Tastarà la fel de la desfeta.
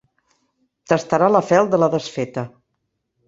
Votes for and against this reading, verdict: 3, 0, accepted